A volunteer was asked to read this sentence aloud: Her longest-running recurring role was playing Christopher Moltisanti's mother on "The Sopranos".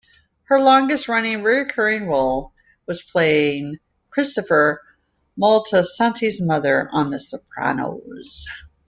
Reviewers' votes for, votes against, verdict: 0, 2, rejected